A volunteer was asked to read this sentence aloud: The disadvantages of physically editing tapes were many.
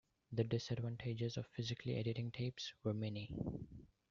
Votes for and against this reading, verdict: 2, 0, accepted